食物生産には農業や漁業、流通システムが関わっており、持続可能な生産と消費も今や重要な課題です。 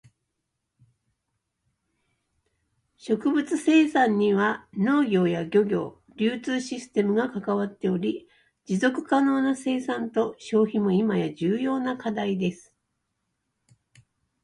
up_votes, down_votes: 0, 2